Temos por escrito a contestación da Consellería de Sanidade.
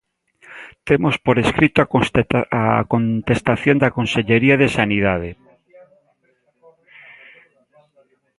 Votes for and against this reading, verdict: 0, 3, rejected